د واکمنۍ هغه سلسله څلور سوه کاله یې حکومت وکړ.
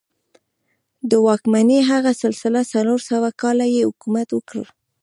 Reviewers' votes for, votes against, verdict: 2, 1, accepted